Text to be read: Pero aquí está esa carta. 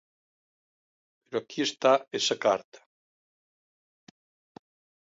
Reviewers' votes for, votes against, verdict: 2, 0, accepted